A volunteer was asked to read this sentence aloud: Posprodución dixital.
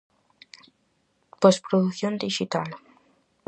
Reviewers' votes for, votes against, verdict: 4, 0, accepted